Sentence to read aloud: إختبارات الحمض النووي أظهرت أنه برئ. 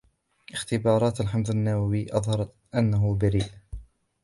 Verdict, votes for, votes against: accepted, 2, 0